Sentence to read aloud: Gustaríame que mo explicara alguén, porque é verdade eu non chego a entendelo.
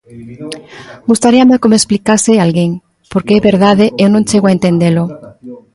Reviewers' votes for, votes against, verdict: 0, 2, rejected